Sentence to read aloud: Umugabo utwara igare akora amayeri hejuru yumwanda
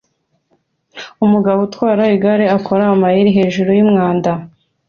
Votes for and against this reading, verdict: 2, 0, accepted